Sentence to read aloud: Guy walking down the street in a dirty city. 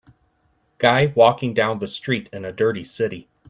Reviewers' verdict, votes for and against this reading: accepted, 2, 0